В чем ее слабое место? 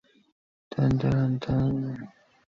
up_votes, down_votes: 0, 2